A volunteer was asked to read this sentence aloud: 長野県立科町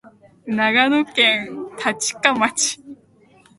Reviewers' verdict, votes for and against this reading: rejected, 2, 3